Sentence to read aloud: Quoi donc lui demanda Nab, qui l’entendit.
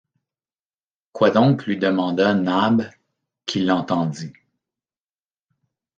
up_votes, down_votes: 1, 2